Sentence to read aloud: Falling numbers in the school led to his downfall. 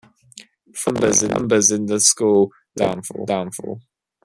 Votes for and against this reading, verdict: 0, 2, rejected